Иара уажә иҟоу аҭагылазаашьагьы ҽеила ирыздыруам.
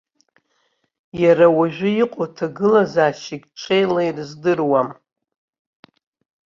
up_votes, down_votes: 2, 1